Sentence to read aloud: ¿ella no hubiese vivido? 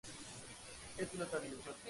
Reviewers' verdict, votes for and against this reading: accepted, 2, 0